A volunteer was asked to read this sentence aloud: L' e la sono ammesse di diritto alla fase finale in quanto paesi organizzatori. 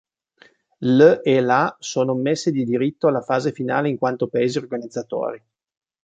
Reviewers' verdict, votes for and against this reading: accepted, 2, 0